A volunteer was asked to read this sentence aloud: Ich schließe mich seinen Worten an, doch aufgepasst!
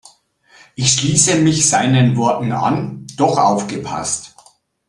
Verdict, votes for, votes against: accepted, 2, 0